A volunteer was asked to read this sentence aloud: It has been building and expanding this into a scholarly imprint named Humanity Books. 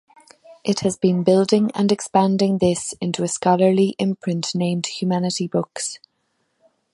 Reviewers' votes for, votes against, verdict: 2, 0, accepted